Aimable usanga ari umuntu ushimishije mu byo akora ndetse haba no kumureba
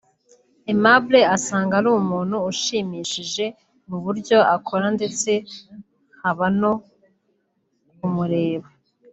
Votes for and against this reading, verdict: 0, 2, rejected